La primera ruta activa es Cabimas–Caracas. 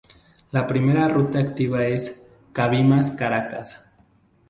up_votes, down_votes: 0, 4